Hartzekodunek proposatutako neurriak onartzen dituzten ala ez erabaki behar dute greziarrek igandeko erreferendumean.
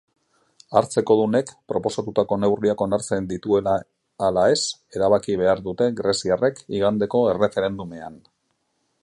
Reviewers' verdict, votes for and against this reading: rejected, 0, 2